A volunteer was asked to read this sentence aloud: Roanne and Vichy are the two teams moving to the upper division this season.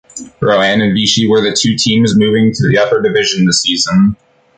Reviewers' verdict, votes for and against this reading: rejected, 0, 2